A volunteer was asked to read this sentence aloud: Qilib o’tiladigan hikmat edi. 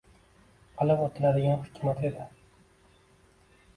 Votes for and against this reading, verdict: 2, 0, accepted